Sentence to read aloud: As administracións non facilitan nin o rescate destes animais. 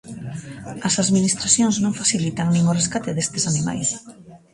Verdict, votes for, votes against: accepted, 2, 1